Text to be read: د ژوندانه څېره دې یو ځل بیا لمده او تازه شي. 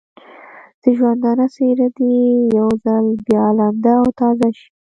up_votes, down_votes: 1, 2